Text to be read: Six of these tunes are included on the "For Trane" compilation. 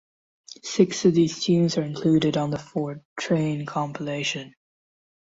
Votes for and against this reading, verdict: 2, 0, accepted